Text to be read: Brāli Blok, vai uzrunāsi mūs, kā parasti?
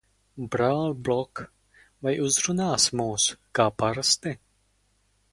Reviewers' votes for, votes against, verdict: 4, 2, accepted